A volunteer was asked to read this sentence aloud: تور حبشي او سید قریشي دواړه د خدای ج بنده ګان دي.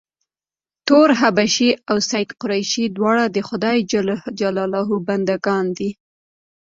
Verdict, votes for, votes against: accepted, 2, 0